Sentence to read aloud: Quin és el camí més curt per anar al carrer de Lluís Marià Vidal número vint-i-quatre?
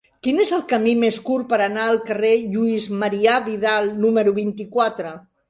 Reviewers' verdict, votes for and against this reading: rejected, 2, 3